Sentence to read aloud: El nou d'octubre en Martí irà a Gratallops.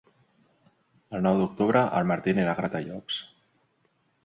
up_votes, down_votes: 1, 3